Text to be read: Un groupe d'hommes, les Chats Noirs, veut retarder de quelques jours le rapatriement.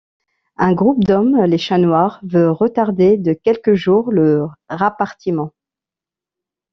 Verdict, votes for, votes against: rejected, 0, 2